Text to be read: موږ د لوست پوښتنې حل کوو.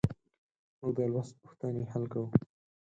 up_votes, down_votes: 4, 0